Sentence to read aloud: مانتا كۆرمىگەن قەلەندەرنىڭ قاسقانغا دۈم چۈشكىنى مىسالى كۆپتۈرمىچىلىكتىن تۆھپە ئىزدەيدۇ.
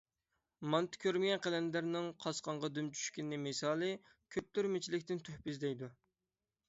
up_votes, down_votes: 6, 0